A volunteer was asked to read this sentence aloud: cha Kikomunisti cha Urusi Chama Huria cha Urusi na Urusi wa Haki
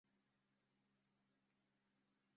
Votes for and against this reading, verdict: 0, 2, rejected